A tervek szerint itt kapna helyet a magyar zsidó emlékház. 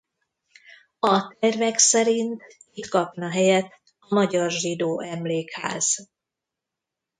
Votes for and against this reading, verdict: 1, 2, rejected